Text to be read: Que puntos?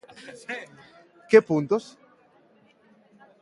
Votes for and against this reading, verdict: 3, 0, accepted